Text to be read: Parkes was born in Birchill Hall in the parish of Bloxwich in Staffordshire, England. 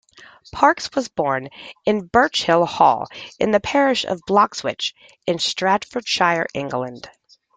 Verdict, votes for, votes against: rejected, 0, 2